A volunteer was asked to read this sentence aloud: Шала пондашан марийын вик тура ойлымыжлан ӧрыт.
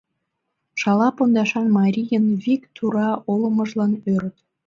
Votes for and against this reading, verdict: 0, 2, rejected